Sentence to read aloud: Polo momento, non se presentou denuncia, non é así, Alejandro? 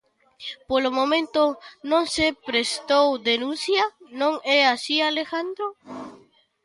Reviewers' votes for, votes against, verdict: 0, 2, rejected